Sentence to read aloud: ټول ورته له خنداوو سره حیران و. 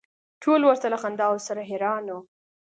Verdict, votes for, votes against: accepted, 2, 0